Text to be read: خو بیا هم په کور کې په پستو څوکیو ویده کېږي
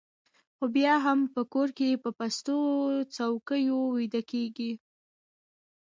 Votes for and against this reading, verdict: 2, 0, accepted